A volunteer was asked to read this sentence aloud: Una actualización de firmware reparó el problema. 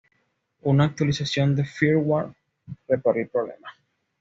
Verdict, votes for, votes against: accepted, 2, 1